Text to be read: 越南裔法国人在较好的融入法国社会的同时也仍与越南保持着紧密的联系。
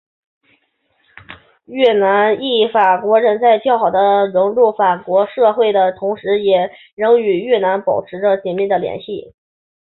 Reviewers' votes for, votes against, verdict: 2, 1, accepted